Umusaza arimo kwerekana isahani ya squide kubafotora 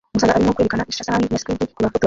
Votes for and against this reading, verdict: 0, 2, rejected